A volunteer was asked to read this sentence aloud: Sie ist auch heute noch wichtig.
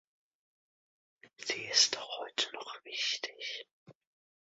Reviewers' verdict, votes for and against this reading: accepted, 2, 0